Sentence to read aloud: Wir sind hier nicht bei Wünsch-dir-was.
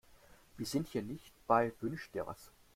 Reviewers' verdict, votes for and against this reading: accepted, 2, 0